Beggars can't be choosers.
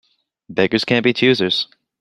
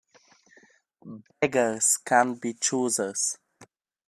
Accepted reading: first